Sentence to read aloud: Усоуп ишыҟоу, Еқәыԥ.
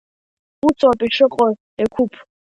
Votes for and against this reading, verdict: 2, 0, accepted